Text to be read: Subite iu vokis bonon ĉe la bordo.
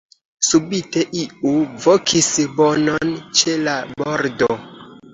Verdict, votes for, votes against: accepted, 2, 0